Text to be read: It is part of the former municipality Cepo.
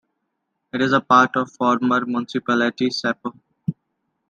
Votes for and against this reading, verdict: 2, 0, accepted